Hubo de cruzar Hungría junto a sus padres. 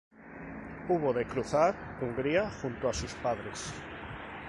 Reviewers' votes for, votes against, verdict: 2, 0, accepted